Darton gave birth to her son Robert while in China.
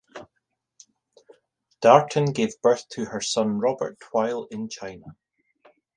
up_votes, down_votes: 2, 1